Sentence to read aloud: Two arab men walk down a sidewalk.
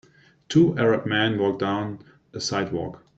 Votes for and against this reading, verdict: 2, 0, accepted